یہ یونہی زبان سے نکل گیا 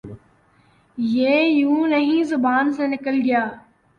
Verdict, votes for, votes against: rejected, 1, 2